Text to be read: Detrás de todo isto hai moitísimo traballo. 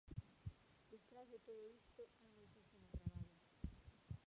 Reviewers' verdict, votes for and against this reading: rejected, 0, 2